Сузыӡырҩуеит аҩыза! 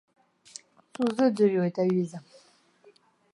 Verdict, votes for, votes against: rejected, 0, 2